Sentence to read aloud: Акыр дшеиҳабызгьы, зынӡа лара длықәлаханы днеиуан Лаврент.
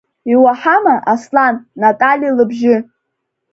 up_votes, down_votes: 1, 2